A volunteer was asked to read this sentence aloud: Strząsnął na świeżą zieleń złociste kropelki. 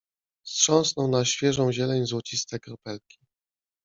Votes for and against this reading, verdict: 2, 1, accepted